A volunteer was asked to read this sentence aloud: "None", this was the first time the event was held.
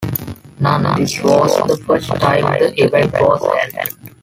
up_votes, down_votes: 0, 2